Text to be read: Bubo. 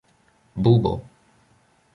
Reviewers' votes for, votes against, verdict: 0, 2, rejected